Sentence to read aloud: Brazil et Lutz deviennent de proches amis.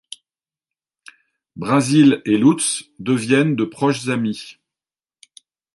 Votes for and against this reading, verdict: 1, 2, rejected